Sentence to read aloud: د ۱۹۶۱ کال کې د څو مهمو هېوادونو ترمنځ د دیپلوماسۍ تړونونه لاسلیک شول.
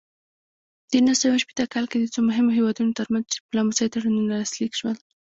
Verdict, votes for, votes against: rejected, 0, 2